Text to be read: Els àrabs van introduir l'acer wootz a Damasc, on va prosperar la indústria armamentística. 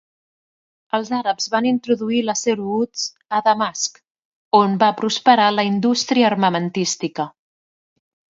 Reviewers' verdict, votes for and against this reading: accepted, 2, 0